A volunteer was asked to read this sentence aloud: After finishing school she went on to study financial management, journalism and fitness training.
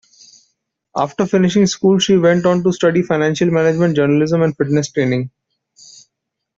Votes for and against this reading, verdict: 2, 0, accepted